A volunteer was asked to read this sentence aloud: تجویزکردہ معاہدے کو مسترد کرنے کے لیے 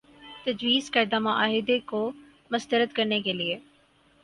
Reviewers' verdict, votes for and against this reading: accepted, 4, 0